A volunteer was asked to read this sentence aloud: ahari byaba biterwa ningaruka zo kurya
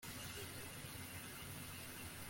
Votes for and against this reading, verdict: 1, 2, rejected